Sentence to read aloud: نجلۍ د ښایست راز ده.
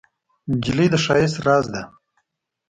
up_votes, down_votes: 2, 0